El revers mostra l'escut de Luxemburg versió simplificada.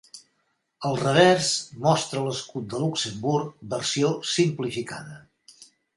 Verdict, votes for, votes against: accepted, 2, 0